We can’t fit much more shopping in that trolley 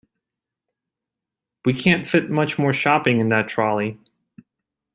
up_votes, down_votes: 2, 0